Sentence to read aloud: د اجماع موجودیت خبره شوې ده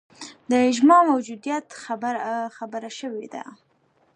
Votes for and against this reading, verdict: 2, 0, accepted